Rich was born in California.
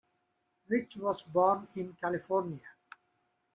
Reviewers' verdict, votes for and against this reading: accepted, 3, 0